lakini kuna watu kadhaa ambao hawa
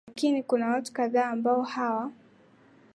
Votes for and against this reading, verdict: 6, 3, accepted